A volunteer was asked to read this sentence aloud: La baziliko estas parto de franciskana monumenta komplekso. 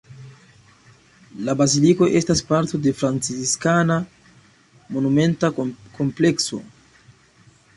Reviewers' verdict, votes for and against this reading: accepted, 2, 0